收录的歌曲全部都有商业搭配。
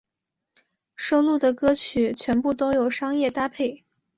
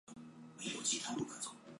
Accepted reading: first